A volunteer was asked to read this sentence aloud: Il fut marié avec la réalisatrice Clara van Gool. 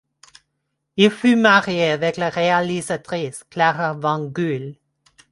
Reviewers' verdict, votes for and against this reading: accepted, 2, 1